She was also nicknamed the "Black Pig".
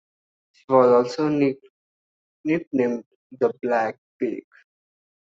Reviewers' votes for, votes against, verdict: 1, 2, rejected